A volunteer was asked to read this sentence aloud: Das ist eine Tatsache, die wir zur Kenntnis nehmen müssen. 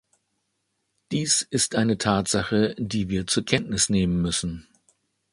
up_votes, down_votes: 0, 2